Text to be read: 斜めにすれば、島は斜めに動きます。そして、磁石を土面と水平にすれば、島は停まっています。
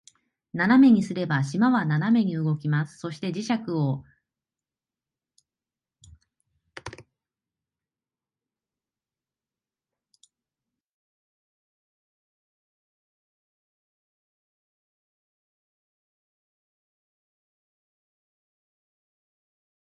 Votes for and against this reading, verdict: 0, 2, rejected